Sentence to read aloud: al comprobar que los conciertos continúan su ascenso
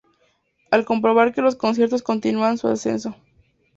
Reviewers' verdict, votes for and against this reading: accepted, 4, 0